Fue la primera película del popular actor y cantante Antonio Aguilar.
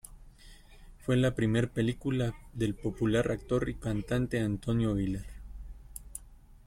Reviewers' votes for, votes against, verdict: 1, 2, rejected